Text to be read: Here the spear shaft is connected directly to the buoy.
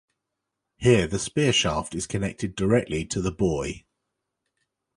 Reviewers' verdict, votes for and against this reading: accepted, 2, 0